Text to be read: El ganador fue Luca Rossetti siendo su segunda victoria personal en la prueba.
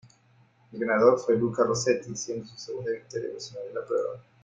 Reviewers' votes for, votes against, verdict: 0, 2, rejected